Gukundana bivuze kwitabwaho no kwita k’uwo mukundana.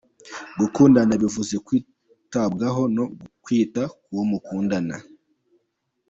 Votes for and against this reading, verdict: 2, 1, accepted